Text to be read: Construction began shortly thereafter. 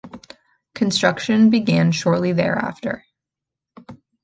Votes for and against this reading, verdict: 2, 1, accepted